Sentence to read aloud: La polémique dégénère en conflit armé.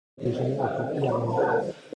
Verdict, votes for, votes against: rejected, 1, 2